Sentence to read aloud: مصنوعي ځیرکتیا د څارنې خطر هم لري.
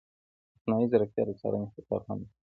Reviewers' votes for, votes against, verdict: 2, 0, accepted